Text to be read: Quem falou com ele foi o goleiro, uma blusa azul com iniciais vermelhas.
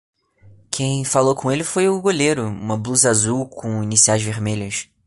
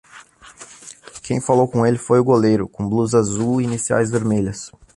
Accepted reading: first